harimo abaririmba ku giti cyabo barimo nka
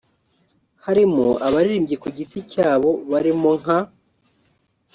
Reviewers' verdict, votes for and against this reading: rejected, 1, 2